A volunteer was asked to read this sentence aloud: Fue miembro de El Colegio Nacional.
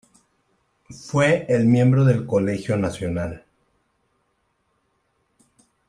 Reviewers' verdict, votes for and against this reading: accepted, 2, 0